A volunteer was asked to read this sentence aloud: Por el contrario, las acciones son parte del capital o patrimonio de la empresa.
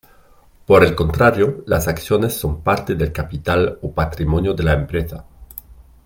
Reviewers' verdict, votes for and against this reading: accepted, 2, 0